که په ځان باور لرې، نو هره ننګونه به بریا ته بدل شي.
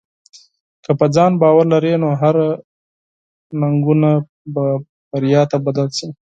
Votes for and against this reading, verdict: 0, 4, rejected